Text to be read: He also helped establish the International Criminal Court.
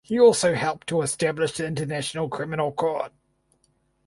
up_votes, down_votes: 2, 4